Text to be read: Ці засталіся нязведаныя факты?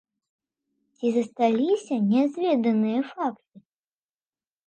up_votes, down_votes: 2, 1